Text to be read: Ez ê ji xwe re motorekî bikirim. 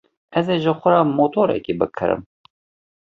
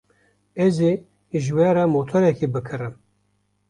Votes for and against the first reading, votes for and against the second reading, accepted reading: 2, 0, 1, 2, first